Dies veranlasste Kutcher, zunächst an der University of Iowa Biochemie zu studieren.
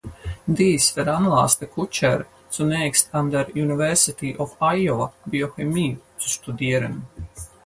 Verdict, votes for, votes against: rejected, 2, 4